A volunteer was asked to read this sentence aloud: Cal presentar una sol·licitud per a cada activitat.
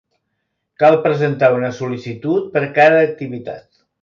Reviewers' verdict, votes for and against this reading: accepted, 4, 1